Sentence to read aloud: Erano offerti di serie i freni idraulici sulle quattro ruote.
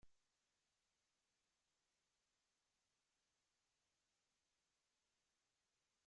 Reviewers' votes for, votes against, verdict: 0, 2, rejected